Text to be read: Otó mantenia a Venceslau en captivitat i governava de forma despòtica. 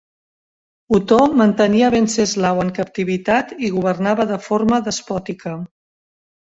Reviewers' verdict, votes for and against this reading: accepted, 2, 1